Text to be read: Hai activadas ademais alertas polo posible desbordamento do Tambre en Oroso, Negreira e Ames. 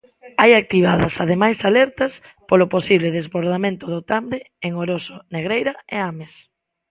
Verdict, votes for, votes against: rejected, 1, 3